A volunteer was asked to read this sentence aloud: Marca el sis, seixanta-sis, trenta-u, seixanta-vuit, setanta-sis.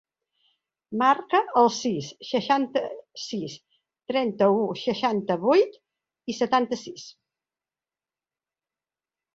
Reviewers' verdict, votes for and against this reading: rejected, 1, 2